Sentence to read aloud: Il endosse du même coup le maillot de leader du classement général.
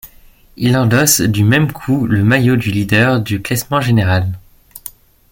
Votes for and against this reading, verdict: 2, 1, accepted